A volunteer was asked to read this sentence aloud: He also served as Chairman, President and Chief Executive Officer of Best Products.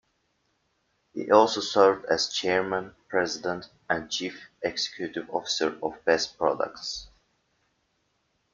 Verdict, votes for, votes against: accepted, 2, 1